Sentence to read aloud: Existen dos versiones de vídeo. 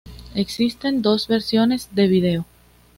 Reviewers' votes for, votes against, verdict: 2, 0, accepted